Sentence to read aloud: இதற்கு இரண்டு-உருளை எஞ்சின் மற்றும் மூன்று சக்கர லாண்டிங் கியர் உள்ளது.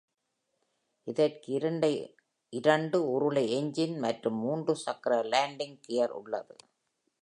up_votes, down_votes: 1, 2